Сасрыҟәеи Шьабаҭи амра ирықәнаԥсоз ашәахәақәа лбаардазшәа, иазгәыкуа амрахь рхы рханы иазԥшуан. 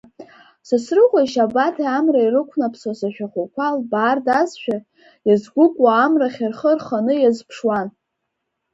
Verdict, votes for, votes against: accepted, 3, 1